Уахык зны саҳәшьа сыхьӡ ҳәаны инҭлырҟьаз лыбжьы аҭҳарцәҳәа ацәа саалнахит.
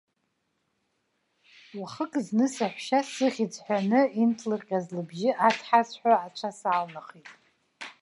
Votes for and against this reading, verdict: 2, 0, accepted